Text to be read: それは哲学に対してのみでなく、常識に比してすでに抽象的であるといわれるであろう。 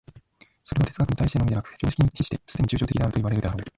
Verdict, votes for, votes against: rejected, 1, 2